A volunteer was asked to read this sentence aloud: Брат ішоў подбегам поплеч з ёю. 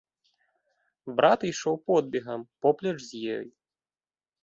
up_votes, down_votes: 1, 2